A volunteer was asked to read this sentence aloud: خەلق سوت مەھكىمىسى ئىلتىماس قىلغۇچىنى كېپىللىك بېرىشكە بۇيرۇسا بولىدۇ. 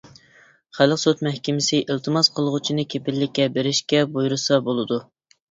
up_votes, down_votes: 1, 2